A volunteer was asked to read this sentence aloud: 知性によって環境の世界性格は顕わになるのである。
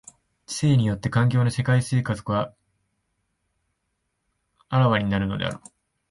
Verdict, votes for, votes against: rejected, 1, 2